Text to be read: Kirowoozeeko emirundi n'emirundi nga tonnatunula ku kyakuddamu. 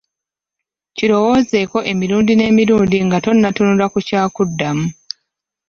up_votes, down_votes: 1, 2